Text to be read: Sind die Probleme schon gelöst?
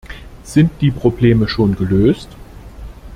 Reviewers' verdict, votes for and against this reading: accepted, 2, 0